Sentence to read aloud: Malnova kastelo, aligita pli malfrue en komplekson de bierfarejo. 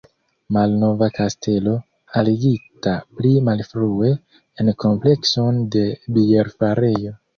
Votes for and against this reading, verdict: 2, 0, accepted